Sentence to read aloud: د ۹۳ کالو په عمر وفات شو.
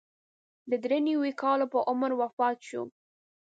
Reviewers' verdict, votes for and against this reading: rejected, 0, 2